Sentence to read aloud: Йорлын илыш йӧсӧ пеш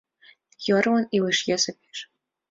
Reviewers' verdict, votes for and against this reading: accepted, 2, 0